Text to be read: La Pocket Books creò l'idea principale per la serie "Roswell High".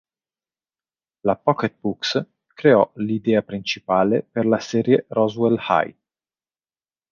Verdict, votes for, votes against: accepted, 2, 0